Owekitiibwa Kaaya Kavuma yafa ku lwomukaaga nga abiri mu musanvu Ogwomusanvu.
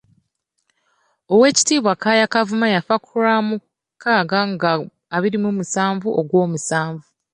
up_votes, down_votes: 1, 2